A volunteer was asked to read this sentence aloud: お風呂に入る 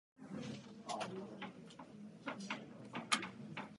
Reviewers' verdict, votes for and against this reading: rejected, 0, 3